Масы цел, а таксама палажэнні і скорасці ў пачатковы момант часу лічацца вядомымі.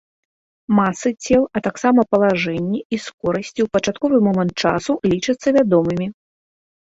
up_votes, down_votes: 2, 1